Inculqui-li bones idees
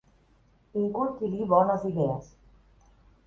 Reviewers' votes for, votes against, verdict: 1, 3, rejected